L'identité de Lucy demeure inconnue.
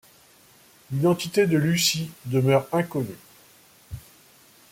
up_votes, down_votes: 2, 0